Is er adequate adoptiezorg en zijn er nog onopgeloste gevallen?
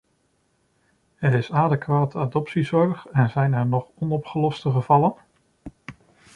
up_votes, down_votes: 0, 2